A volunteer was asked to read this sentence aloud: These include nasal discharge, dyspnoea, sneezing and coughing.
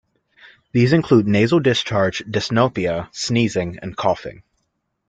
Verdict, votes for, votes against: rejected, 0, 2